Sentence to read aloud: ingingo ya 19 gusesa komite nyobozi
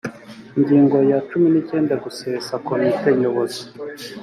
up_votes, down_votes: 0, 2